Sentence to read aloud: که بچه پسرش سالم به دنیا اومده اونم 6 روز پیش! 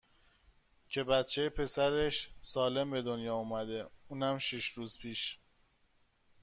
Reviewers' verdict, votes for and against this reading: rejected, 0, 2